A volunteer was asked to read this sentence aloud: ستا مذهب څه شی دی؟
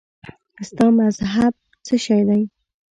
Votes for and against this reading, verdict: 2, 0, accepted